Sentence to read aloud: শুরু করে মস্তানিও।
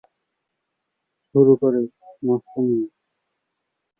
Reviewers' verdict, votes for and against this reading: rejected, 2, 3